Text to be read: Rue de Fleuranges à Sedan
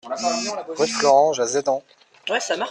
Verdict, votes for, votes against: rejected, 0, 2